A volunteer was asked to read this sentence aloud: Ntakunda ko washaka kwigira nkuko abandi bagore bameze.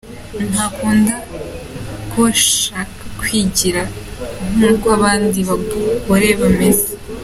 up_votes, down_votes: 0, 2